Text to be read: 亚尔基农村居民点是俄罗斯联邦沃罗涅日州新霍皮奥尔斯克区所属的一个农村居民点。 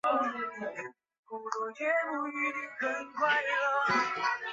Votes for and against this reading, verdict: 0, 4, rejected